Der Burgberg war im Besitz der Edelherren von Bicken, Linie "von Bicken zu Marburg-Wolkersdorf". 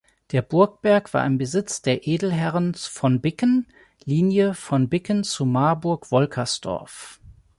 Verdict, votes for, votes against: rejected, 1, 2